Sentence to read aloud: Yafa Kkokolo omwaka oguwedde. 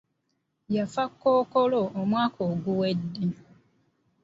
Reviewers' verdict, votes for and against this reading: accepted, 2, 0